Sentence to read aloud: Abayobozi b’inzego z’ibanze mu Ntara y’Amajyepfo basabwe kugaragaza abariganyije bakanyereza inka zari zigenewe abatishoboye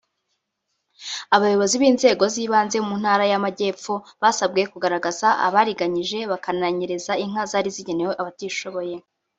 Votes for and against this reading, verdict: 0, 2, rejected